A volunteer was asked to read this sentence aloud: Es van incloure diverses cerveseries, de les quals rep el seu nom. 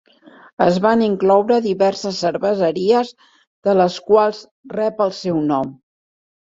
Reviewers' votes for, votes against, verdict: 4, 1, accepted